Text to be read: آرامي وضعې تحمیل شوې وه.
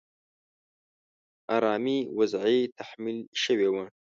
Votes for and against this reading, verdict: 2, 0, accepted